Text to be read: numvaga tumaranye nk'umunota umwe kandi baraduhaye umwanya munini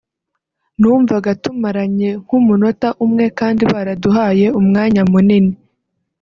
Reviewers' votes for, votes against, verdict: 2, 0, accepted